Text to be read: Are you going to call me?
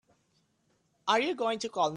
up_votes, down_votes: 1, 7